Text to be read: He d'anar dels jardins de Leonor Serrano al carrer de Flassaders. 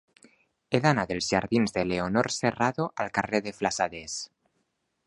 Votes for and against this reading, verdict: 2, 0, accepted